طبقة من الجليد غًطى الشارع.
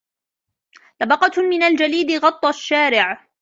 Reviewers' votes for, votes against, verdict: 2, 0, accepted